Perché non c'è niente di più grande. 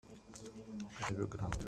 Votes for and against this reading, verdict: 0, 2, rejected